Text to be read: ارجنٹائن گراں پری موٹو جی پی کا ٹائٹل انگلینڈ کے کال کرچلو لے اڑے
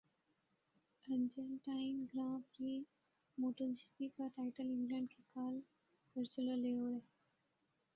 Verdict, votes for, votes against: rejected, 0, 2